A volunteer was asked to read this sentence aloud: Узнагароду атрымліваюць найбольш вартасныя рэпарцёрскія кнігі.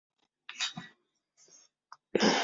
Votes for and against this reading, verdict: 0, 2, rejected